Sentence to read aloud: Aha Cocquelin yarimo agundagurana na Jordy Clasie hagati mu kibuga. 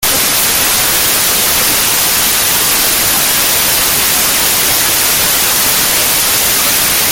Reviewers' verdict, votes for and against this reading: rejected, 0, 2